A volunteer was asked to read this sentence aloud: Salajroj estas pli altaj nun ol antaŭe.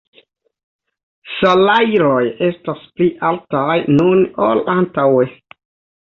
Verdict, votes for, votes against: accepted, 2, 0